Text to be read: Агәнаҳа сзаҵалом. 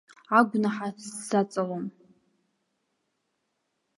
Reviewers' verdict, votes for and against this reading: accepted, 2, 0